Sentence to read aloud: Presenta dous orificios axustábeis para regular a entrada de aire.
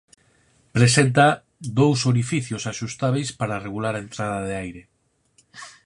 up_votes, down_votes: 4, 0